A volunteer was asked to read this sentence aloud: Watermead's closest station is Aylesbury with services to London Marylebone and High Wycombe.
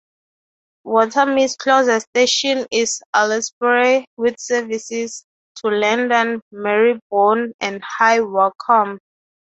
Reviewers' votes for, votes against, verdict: 3, 0, accepted